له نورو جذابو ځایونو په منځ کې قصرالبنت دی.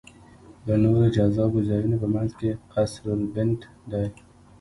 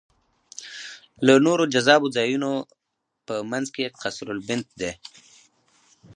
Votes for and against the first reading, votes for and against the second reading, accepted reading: 1, 2, 2, 0, second